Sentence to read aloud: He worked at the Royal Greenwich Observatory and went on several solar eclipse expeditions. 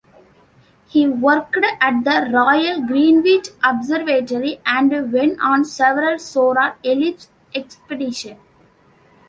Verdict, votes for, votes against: rejected, 0, 2